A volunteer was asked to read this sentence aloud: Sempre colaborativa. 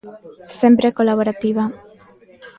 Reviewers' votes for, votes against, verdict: 2, 0, accepted